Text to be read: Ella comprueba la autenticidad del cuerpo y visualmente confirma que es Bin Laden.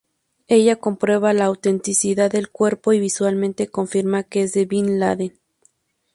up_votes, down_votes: 0, 4